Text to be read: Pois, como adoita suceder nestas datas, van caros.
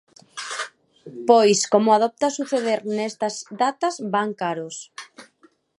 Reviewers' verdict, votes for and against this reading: rejected, 1, 2